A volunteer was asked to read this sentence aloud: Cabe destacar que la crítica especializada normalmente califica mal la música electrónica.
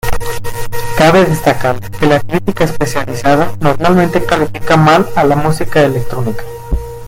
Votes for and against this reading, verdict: 1, 2, rejected